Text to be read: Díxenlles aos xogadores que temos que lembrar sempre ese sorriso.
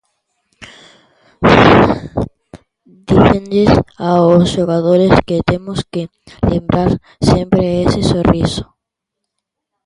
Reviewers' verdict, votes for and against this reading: rejected, 0, 2